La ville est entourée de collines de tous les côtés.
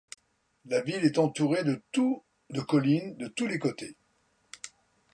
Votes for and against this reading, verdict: 1, 2, rejected